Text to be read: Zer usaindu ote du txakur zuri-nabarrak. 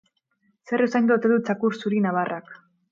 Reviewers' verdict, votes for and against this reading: accepted, 4, 0